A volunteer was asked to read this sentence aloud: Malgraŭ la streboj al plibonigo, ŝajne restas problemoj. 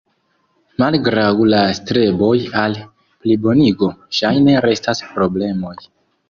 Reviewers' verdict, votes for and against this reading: rejected, 0, 2